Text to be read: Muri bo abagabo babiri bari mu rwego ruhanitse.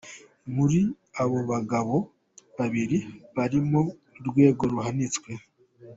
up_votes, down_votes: 0, 2